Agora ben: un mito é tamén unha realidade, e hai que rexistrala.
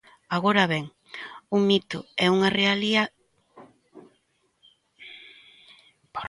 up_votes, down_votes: 0, 2